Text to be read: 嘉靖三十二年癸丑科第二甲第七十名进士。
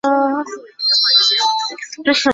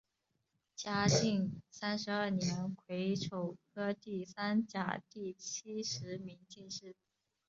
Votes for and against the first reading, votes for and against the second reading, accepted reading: 0, 3, 3, 1, second